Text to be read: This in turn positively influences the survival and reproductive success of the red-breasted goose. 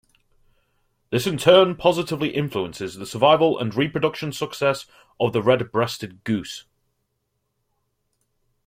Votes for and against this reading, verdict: 1, 2, rejected